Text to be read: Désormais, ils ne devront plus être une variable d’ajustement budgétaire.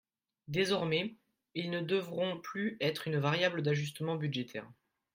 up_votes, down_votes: 3, 1